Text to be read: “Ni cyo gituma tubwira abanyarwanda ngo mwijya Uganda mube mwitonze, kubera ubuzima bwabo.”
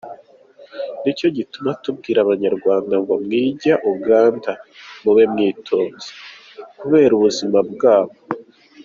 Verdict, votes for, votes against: accepted, 2, 1